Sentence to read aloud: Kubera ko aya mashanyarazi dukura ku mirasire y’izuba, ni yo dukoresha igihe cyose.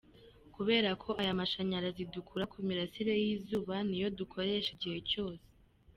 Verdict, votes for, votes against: accepted, 3, 1